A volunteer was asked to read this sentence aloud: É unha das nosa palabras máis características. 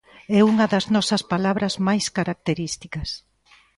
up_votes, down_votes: 2, 1